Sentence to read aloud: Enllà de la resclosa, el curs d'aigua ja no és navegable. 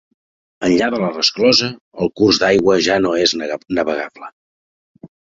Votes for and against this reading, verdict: 1, 2, rejected